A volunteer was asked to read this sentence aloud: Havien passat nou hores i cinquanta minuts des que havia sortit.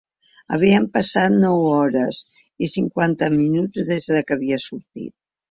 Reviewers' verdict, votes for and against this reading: accepted, 3, 0